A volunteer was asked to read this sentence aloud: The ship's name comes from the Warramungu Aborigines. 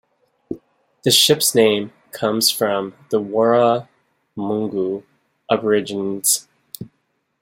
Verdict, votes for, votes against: rejected, 1, 2